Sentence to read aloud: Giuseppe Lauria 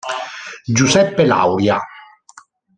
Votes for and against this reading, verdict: 1, 2, rejected